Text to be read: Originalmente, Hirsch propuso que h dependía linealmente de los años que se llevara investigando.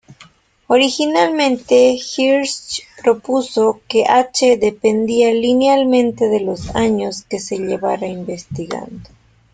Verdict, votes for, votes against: accepted, 2, 1